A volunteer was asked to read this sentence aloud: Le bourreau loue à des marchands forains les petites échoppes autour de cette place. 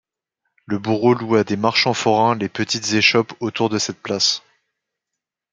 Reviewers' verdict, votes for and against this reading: accepted, 2, 0